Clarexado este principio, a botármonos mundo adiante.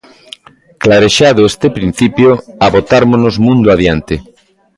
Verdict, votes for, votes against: rejected, 0, 2